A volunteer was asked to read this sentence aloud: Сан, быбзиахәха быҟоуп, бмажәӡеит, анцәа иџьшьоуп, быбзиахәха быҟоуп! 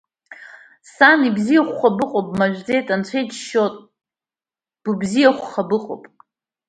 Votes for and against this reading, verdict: 1, 2, rejected